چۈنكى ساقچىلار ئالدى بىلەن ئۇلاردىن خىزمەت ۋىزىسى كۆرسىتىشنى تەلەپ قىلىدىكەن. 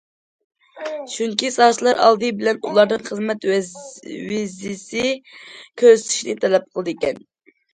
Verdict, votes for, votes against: rejected, 0, 2